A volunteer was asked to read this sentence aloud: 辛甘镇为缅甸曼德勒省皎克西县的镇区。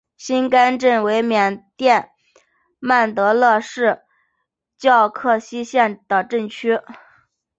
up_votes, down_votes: 0, 2